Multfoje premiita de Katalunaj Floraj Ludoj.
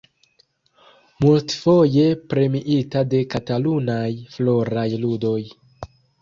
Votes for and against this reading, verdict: 2, 1, accepted